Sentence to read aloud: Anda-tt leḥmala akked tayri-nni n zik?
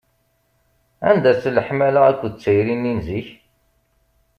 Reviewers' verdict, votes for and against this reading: accepted, 2, 0